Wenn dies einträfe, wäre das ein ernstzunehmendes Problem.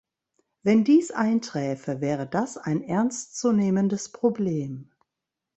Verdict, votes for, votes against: accepted, 2, 0